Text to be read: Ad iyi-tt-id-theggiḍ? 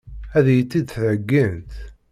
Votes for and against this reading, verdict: 1, 3, rejected